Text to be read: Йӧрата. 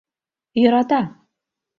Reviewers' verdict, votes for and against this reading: accepted, 3, 0